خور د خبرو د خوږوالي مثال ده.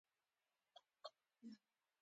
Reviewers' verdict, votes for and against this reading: accepted, 2, 1